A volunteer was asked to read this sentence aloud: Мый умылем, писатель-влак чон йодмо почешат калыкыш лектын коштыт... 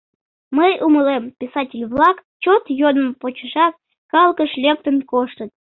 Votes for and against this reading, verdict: 0, 2, rejected